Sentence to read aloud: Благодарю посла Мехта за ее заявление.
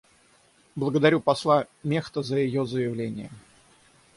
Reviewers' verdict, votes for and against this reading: accepted, 6, 0